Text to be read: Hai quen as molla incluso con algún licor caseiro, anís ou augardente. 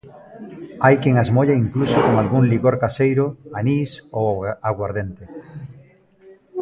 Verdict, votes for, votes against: rejected, 0, 2